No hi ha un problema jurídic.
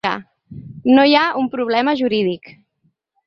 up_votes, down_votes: 0, 2